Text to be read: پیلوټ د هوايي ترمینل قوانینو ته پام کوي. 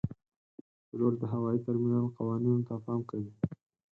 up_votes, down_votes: 8, 2